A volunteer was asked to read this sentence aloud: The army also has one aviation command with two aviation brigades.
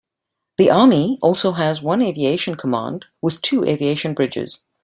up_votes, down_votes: 0, 2